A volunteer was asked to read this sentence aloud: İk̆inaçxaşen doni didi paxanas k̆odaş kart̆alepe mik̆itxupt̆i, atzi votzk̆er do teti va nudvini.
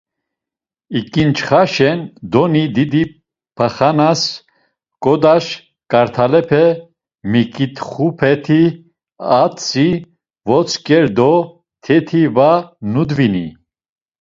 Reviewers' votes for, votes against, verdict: 1, 2, rejected